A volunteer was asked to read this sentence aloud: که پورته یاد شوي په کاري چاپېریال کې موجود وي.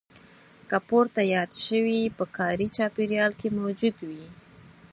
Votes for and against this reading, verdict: 0, 4, rejected